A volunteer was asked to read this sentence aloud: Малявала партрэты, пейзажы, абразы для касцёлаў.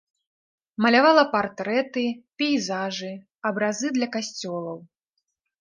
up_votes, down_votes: 2, 1